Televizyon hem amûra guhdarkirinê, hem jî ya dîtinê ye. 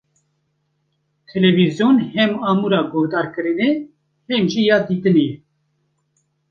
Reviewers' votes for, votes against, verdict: 2, 0, accepted